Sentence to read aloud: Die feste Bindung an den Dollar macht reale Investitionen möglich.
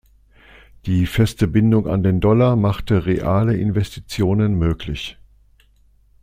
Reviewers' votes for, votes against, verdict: 0, 2, rejected